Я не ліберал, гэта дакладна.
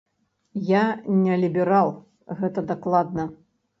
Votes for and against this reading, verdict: 2, 0, accepted